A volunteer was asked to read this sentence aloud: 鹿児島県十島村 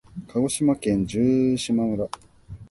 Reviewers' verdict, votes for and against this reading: rejected, 0, 2